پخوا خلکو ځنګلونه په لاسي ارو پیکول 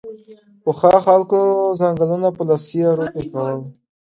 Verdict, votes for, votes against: accepted, 2, 0